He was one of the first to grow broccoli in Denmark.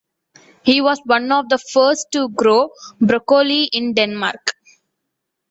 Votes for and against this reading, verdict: 2, 0, accepted